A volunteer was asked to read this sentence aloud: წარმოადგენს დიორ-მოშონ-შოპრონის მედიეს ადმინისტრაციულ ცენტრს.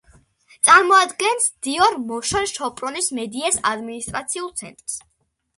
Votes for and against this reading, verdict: 2, 0, accepted